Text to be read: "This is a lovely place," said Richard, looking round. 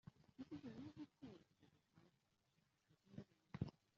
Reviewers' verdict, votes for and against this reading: rejected, 0, 2